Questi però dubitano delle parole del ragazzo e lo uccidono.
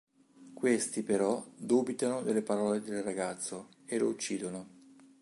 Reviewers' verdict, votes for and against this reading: accepted, 2, 0